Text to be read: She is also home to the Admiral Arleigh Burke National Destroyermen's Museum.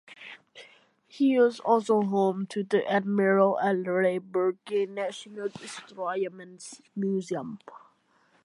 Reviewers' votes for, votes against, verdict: 1, 2, rejected